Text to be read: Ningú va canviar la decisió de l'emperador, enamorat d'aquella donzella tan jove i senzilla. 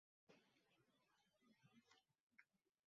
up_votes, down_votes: 0, 2